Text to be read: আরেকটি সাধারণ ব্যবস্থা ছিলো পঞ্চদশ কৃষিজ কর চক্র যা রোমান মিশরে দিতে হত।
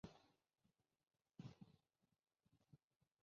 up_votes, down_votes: 0, 2